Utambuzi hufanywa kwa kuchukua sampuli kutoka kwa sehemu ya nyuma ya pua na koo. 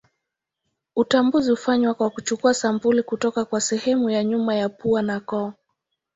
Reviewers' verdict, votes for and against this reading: accepted, 2, 0